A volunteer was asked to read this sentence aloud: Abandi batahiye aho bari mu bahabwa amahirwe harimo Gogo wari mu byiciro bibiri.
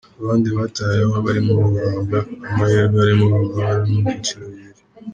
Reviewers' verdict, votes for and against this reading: rejected, 0, 2